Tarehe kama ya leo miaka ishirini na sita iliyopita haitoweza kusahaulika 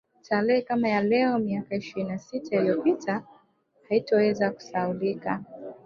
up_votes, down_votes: 2, 1